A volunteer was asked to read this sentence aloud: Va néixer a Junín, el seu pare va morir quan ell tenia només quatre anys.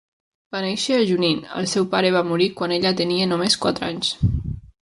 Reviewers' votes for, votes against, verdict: 2, 3, rejected